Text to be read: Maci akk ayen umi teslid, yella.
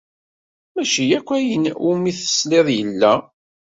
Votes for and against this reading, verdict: 2, 0, accepted